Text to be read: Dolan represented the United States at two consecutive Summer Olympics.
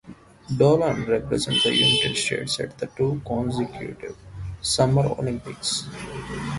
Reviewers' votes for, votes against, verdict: 0, 2, rejected